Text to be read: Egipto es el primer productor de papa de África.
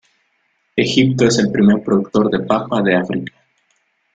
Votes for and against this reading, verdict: 2, 0, accepted